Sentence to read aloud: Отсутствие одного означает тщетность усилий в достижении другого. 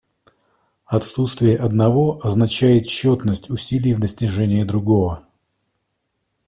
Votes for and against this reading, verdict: 2, 0, accepted